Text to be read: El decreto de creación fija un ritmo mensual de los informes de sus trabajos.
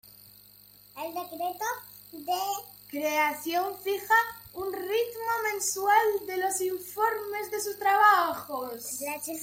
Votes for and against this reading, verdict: 1, 2, rejected